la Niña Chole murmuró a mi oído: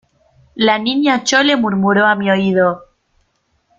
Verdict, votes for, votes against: accepted, 2, 0